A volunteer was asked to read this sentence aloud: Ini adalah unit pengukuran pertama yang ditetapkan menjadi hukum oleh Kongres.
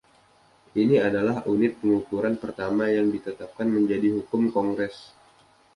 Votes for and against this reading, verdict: 1, 2, rejected